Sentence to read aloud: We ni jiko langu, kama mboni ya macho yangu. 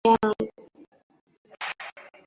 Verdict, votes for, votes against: rejected, 0, 2